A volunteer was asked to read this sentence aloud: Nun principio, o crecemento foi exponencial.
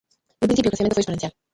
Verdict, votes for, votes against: rejected, 0, 2